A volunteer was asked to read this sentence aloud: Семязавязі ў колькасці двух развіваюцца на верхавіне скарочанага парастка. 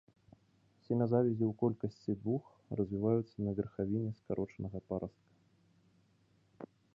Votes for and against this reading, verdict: 2, 1, accepted